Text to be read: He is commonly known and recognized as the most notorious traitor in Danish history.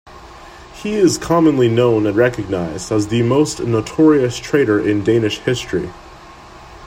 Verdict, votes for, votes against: accepted, 2, 0